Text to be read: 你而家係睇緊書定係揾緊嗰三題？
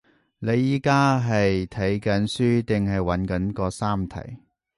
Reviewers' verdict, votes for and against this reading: rejected, 0, 2